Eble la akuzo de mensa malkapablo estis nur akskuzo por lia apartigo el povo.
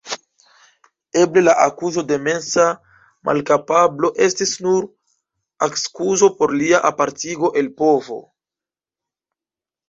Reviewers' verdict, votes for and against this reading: accepted, 2, 1